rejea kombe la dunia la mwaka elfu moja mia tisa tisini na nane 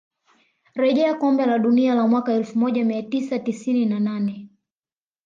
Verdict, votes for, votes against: accepted, 2, 0